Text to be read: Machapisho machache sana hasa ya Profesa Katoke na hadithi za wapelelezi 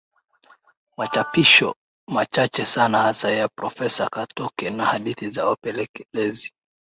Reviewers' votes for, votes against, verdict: 2, 0, accepted